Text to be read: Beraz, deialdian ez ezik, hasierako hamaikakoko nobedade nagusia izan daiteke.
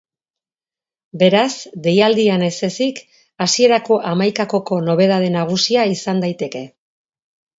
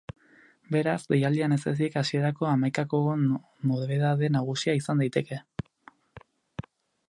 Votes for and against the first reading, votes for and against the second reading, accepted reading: 4, 0, 2, 2, first